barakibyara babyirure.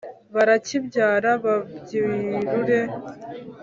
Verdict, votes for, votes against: accepted, 3, 0